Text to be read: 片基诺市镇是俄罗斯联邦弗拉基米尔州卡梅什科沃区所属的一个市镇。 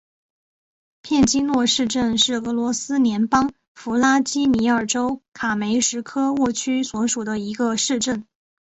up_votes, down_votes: 2, 0